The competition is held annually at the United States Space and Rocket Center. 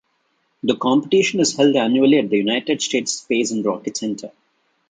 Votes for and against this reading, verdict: 2, 0, accepted